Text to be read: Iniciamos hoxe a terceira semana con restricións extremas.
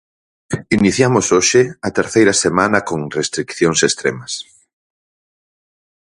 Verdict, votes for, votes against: rejected, 0, 4